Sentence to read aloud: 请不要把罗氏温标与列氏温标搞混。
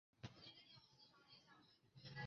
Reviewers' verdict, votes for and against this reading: rejected, 0, 2